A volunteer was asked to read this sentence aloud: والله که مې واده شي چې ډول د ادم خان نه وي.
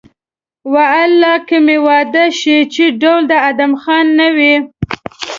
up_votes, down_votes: 1, 2